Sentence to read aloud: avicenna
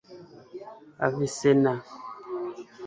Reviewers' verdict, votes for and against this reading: rejected, 1, 2